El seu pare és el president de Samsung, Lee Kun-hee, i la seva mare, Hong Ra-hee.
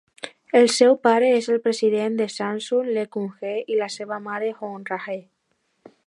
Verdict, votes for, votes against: accepted, 2, 1